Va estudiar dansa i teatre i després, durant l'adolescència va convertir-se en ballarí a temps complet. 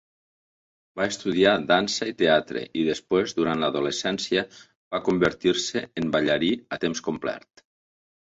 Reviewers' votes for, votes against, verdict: 2, 3, rejected